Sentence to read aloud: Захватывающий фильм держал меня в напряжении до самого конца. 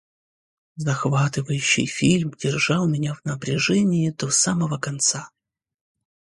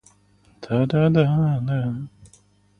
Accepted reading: first